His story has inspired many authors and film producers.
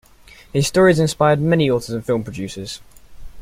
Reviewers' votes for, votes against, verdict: 0, 2, rejected